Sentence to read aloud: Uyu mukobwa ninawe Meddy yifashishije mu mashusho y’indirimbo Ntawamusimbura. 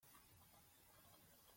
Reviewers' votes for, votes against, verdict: 0, 2, rejected